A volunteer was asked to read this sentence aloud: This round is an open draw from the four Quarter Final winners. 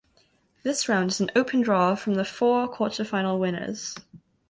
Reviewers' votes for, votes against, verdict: 2, 0, accepted